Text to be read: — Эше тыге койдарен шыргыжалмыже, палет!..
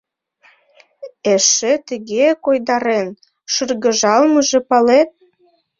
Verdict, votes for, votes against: accepted, 2, 0